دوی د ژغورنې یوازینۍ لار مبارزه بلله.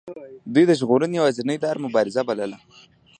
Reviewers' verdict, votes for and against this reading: accepted, 2, 0